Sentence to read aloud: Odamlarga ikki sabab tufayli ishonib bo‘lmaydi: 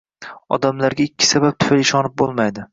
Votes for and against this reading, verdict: 2, 0, accepted